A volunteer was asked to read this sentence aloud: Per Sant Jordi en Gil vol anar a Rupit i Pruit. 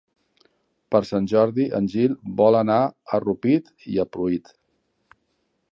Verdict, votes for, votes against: rejected, 1, 2